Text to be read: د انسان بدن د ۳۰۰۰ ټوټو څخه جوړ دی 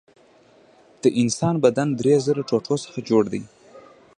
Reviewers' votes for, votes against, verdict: 0, 2, rejected